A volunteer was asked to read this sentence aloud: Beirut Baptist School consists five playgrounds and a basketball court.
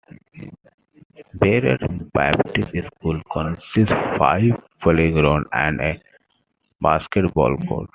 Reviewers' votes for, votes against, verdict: 2, 1, accepted